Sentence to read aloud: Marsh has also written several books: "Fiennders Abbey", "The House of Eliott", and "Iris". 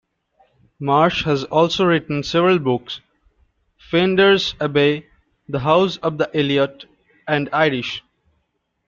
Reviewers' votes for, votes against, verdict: 0, 2, rejected